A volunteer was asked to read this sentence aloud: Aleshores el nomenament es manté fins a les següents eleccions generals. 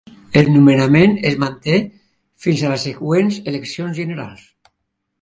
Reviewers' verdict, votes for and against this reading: rejected, 1, 3